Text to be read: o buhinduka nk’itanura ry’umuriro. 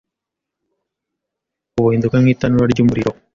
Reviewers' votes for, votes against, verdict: 2, 0, accepted